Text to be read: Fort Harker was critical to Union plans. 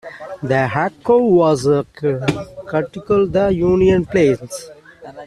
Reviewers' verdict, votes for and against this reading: rejected, 0, 2